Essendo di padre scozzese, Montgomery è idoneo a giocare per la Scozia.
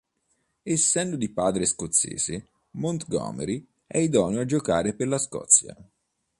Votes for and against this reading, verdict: 2, 0, accepted